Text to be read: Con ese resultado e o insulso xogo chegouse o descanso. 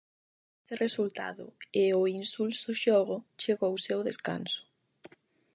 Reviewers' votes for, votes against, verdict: 0, 8, rejected